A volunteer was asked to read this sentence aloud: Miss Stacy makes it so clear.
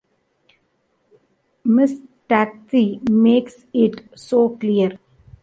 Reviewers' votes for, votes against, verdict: 1, 2, rejected